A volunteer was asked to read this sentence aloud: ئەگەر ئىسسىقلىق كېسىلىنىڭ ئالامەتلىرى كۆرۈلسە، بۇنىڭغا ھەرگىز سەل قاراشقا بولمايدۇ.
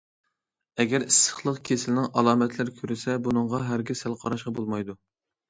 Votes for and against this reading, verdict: 2, 0, accepted